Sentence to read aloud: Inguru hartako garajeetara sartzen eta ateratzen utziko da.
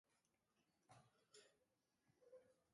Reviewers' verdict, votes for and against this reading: rejected, 0, 2